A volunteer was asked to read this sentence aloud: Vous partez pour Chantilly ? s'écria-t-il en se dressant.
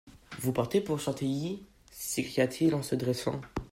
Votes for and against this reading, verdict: 2, 1, accepted